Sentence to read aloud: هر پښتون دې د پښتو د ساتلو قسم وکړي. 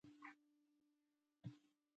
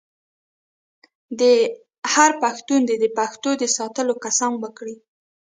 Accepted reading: second